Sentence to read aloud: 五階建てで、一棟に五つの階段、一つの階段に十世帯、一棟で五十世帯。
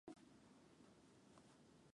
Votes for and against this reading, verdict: 0, 2, rejected